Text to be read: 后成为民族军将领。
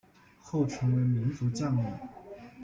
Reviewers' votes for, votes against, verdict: 0, 2, rejected